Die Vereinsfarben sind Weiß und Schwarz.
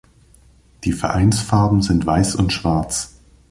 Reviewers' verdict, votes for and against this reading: accepted, 2, 0